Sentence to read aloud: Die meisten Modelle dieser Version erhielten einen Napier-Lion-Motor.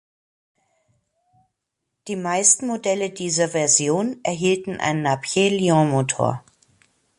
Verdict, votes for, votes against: accepted, 2, 0